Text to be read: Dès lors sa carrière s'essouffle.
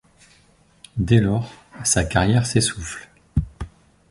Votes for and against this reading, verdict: 2, 0, accepted